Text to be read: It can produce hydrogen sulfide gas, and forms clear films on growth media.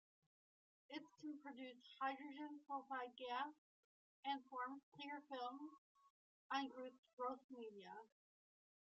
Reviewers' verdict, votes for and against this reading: rejected, 1, 2